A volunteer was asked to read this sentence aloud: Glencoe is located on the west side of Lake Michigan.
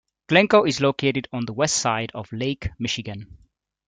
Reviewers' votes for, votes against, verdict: 2, 0, accepted